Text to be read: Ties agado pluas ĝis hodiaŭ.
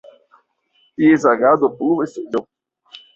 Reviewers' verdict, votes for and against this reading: rejected, 1, 2